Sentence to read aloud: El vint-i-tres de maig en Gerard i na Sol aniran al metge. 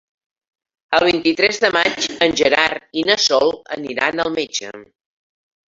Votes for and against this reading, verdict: 3, 1, accepted